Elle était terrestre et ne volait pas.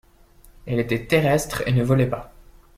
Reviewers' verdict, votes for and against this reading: accepted, 2, 0